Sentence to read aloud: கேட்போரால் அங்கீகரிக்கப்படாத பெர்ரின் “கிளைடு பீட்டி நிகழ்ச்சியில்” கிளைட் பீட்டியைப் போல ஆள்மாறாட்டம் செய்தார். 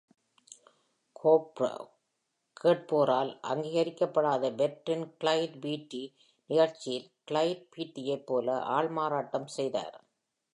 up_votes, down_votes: 0, 2